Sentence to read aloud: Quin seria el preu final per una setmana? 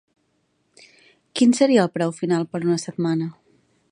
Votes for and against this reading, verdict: 3, 0, accepted